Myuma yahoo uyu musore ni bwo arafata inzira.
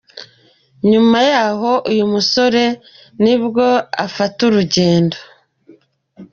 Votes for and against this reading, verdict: 0, 2, rejected